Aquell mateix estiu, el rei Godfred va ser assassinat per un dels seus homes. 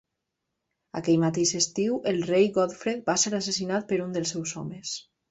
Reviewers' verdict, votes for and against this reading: accepted, 3, 0